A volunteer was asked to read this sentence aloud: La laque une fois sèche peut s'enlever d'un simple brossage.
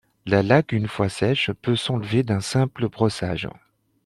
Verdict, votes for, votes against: accepted, 2, 0